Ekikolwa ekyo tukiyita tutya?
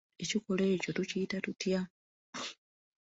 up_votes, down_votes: 2, 0